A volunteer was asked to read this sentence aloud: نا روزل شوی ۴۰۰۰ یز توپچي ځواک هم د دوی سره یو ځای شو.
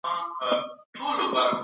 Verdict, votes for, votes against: rejected, 0, 2